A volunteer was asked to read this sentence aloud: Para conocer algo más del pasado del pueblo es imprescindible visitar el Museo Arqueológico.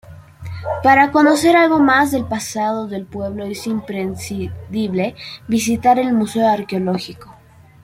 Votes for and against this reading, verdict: 2, 1, accepted